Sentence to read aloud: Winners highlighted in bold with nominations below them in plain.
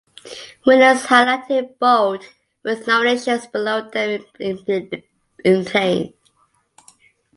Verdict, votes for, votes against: rejected, 1, 2